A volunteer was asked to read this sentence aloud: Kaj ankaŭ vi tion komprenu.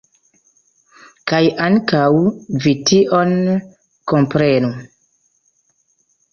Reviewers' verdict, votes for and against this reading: accepted, 2, 0